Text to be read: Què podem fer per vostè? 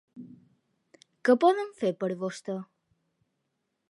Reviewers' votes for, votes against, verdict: 2, 0, accepted